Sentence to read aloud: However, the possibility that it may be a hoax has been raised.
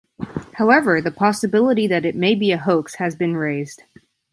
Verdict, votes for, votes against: accepted, 2, 0